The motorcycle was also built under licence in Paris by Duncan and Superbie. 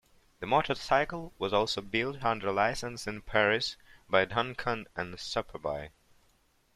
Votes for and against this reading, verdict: 1, 2, rejected